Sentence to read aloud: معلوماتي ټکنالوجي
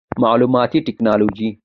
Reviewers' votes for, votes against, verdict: 2, 0, accepted